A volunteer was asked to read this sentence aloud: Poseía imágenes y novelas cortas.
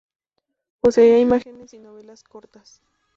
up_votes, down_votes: 0, 2